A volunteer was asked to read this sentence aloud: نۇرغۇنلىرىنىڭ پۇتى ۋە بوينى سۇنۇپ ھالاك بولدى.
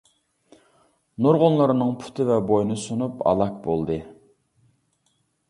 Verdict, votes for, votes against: accepted, 2, 0